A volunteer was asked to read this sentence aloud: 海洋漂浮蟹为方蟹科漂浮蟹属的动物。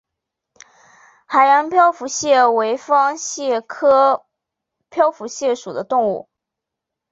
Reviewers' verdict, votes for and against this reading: accepted, 2, 0